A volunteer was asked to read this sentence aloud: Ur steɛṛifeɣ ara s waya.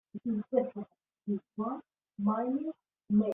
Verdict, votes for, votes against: rejected, 0, 2